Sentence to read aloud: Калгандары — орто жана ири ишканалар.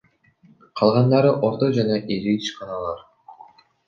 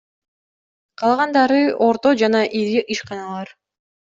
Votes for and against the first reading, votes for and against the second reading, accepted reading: 0, 2, 2, 0, second